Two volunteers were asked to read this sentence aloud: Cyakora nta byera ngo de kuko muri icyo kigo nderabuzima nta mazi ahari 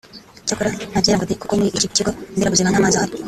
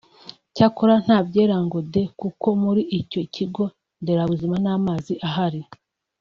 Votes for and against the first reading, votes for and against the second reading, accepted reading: 1, 2, 3, 0, second